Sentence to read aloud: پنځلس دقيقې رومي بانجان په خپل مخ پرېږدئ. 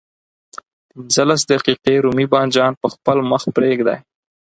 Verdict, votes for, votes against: accepted, 4, 0